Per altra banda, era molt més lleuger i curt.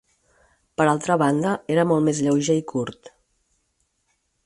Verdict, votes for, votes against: accepted, 4, 0